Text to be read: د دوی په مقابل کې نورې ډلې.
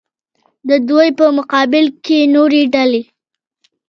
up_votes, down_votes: 2, 0